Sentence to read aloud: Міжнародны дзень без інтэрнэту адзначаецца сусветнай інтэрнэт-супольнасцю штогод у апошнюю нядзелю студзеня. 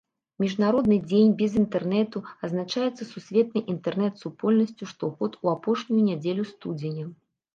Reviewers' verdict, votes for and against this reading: accepted, 2, 0